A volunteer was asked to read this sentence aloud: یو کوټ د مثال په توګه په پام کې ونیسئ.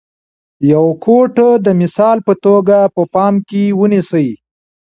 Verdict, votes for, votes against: rejected, 1, 2